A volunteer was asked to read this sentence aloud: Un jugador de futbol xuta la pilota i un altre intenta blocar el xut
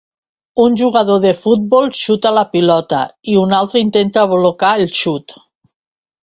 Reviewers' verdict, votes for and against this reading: accepted, 2, 0